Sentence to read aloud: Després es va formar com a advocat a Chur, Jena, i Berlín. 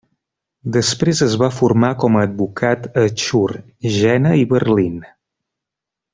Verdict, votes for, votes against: accepted, 3, 0